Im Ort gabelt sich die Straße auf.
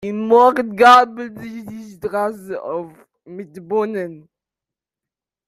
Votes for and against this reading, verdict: 0, 2, rejected